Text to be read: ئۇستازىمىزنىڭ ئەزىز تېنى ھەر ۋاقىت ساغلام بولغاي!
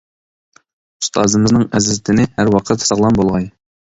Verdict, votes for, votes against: accepted, 2, 0